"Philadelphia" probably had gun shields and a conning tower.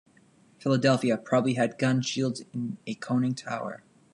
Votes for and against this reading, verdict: 2, 1, accepted